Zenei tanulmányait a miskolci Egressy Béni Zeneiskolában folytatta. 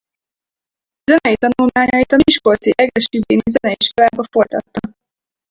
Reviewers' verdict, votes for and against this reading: rejected, 0, 4